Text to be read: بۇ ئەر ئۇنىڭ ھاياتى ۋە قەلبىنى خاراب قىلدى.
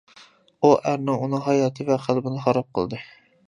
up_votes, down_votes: 0, 2